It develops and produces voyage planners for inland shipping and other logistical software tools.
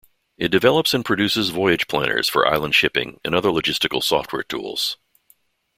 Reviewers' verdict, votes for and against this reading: rejected, 1, 3